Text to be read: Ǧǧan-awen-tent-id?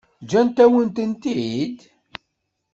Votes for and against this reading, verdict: 2, 0, accepted